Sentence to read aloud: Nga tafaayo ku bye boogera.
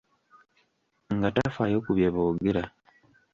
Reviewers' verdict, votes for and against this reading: rejected, 1, 2